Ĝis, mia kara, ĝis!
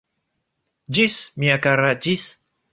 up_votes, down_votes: 2, 1